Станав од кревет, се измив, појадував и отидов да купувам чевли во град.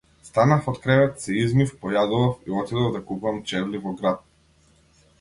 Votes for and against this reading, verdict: 0, 2, rejected